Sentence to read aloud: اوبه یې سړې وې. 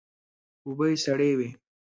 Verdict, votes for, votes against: accepted, 2, 0